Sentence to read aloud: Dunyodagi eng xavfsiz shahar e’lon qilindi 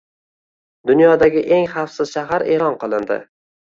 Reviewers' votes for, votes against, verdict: 2, 0, accepted